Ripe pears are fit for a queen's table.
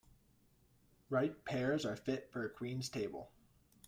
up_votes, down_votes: 2, 0